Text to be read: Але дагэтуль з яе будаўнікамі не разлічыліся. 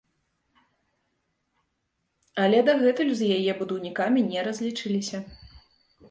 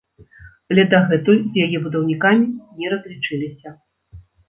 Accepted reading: first